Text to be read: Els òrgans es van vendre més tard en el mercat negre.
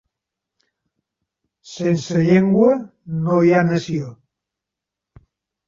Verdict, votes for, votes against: rejected, 0, 2